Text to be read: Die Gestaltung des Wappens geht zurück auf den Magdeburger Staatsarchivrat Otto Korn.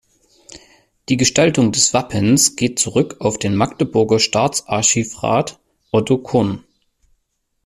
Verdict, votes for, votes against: accepted, 2, 0